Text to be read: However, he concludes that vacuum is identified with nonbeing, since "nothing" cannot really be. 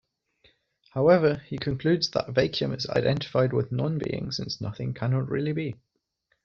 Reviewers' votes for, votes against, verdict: 0, 2, rejected